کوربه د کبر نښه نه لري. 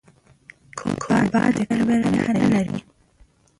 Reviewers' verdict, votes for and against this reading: rejected, 0, 3